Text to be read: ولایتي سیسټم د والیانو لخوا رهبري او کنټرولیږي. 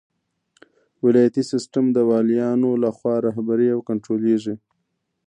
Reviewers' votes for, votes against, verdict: 1, 2, rejected